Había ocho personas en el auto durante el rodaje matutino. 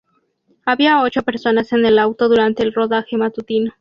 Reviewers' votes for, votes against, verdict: 0, 2, rejected